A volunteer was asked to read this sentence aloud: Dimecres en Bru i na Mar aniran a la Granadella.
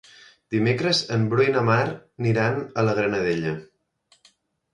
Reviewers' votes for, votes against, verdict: 0, 2, rejected